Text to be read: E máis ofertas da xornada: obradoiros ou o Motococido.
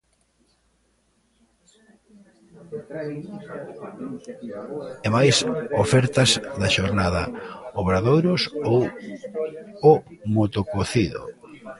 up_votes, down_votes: 1, 2